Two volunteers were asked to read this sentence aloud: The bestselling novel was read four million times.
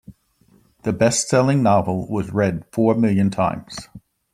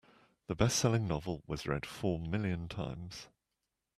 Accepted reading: second